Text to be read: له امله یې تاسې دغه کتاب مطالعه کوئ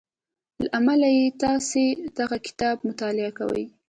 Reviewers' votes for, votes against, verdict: 3, 0, accepted